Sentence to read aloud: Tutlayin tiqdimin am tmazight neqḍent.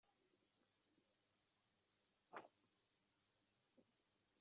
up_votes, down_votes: 0, 2